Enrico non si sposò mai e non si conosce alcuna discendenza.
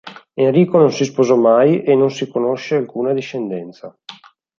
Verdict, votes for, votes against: accepted, 2, 0